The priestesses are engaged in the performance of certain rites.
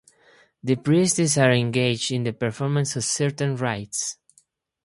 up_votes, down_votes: 0, 2